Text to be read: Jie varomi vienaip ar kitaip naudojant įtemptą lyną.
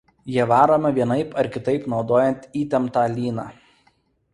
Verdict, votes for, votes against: accepted, 2, 0